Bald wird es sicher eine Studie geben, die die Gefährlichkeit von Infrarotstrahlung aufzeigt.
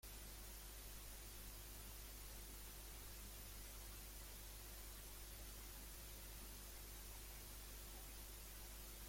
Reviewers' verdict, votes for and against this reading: rejected, 0, 2